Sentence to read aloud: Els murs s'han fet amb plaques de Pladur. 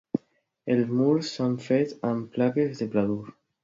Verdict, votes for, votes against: accepted, 2, 0